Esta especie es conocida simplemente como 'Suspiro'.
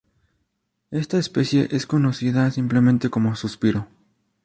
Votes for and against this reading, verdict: 2, 0, accepted